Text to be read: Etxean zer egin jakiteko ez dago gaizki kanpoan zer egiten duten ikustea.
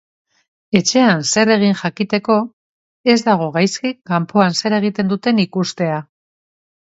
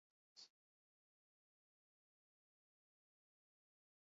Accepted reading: first